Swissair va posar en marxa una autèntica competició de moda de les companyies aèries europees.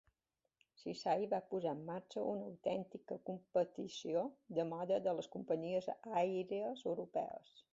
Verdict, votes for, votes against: rejected, 1, 2